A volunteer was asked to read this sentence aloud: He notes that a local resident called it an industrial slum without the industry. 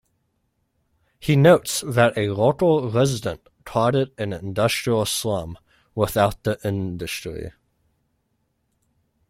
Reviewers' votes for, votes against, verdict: 2, 0, accepted